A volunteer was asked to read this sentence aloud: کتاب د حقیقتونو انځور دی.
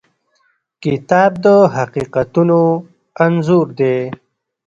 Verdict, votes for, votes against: rejected, 0, 2